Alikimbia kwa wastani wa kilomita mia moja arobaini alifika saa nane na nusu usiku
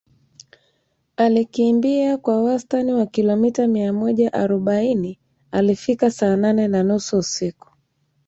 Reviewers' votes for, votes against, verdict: 1, 2, rejected